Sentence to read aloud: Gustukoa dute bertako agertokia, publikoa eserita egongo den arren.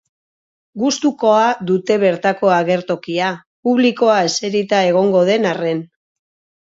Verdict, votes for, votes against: rejected, 2, 4